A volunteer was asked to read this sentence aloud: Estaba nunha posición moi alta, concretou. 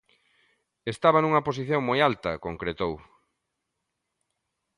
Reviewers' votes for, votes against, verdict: 2, 0, accepted